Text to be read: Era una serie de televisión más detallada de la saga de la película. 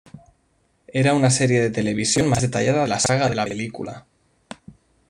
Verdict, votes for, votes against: rejected, 0, 2